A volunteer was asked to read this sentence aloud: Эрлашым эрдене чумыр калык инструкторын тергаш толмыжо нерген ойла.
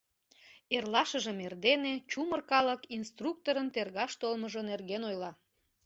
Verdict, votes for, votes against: rejected, 1, 2